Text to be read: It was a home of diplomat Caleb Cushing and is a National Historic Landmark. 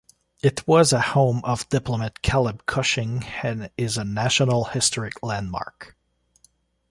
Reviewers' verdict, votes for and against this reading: rejected, 1, 2